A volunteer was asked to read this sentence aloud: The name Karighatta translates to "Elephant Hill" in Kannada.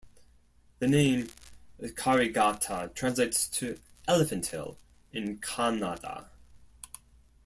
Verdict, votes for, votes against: accepted, 2, 1